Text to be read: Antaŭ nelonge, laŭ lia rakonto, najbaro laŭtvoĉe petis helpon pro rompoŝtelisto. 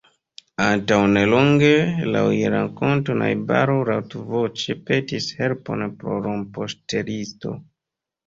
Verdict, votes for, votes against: rejected, 1, 2